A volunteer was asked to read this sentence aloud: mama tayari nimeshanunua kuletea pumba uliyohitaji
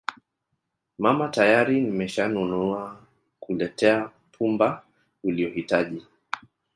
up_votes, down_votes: 0, 2